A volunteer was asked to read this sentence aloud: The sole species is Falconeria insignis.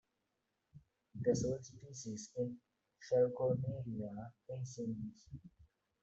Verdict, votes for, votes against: rejected, 0, 2